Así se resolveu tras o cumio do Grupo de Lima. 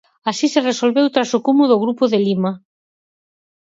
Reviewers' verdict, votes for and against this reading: rejected, 0, 4